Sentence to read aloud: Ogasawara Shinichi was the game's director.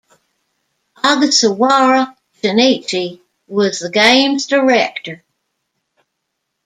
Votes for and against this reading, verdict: 1, 2, rejected